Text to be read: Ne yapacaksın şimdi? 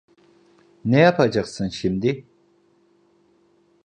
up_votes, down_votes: 2, 0